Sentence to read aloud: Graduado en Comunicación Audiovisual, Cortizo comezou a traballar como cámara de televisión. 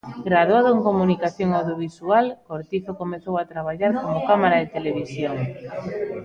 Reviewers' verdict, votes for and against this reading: rejected, 1, 2